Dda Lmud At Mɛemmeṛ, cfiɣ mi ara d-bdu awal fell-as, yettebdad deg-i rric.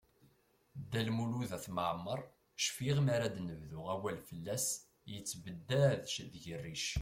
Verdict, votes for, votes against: rejected, 0, 2